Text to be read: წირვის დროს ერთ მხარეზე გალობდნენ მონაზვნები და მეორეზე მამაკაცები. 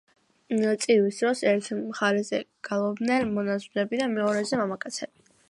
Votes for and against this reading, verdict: 2, 1, accepted